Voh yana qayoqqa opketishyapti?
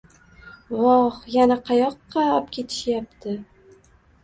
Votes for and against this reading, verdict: 1, 2, rejected